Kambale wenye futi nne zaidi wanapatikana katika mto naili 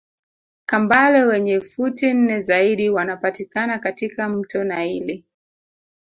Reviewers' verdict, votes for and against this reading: rejected, 0, 2